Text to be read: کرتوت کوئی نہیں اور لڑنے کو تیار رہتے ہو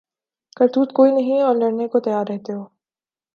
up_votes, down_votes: 2, 0